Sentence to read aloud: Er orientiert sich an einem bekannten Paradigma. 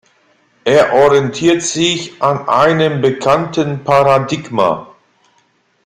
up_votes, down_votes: 2, 0